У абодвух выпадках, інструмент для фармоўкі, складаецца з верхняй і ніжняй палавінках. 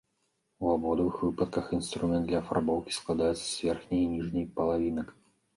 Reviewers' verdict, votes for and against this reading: rejected, 1, 2